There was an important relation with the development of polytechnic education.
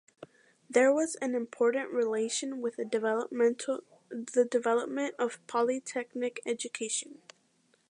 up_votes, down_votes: 0, 2